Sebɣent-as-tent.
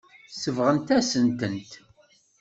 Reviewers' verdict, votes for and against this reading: rejected, 0, 2